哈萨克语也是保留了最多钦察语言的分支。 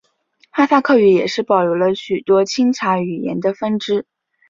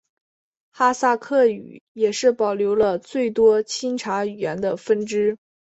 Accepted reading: second